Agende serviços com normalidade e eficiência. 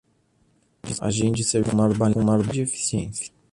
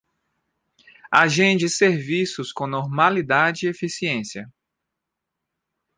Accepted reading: second